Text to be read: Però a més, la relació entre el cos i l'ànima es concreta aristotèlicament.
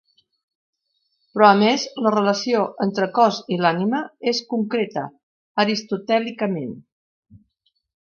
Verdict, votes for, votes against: rejected, 0, 2